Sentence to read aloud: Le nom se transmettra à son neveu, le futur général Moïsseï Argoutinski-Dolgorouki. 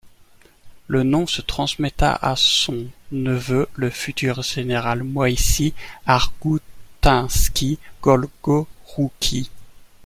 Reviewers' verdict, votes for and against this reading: rejected, 0, 2